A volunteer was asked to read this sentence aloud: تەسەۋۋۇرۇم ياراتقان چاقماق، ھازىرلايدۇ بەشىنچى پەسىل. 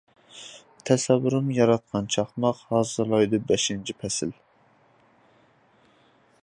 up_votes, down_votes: 2, 0